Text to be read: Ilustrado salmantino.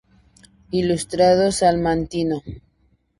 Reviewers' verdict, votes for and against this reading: accepted, 4, 0